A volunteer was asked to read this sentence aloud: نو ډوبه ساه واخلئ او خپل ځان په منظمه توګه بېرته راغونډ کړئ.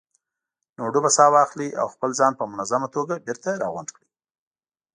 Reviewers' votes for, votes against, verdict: 2, 0, accepted